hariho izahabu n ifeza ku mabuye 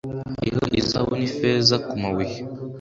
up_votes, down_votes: 2, 0